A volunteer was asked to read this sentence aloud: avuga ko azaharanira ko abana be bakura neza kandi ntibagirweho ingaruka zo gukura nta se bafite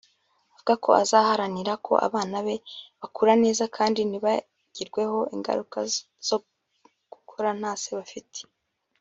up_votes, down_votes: 1, 2